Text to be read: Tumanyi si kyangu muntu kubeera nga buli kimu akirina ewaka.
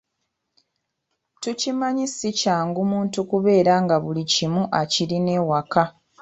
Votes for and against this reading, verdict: 0, 2, rejected